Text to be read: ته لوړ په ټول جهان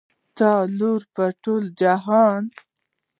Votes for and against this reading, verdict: 1, 2, rejected